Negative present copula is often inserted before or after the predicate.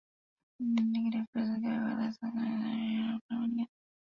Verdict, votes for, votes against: rejected, 0, 2